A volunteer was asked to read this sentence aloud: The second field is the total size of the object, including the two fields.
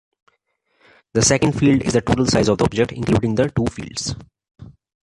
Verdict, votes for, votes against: rejected, 0, 2